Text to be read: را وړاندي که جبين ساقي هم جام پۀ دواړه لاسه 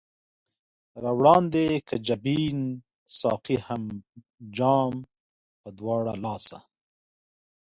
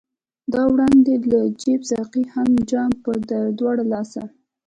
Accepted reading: first